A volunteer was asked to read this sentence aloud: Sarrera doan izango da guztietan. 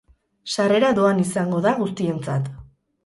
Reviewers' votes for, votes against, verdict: 0, 4, rejected